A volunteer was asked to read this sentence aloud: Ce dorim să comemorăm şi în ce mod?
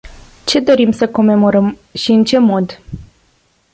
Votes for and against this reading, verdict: 2, 0, accepted